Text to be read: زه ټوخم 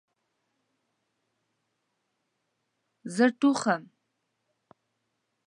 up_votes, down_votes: 1, 2